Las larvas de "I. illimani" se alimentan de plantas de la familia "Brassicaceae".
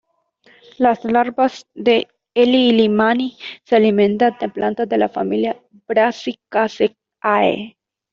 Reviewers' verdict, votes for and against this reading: rejected, 1, 2